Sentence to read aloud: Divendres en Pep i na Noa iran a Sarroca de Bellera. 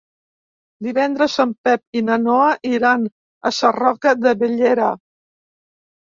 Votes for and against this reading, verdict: 3, 0, accepted